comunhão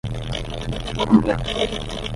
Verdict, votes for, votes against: rejected, 5, 5